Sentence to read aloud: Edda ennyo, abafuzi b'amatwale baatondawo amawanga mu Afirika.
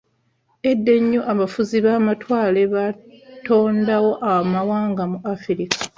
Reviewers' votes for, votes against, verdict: 2, 0, accepted